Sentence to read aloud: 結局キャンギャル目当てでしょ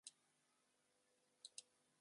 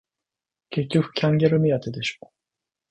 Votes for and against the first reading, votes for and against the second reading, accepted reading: 0, 2, 2, 0, second